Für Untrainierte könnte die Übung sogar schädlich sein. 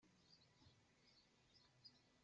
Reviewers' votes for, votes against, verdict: 0, 2, rejected